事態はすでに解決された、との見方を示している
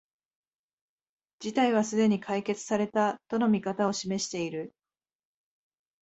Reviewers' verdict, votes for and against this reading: accepted, 2, 0